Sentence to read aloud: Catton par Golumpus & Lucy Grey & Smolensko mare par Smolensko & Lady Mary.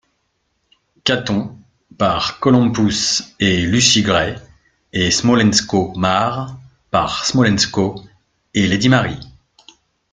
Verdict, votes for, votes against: accepted, 2, 0